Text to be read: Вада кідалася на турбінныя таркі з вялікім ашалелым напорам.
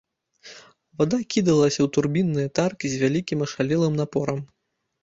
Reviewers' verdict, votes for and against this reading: rejected, 1, 2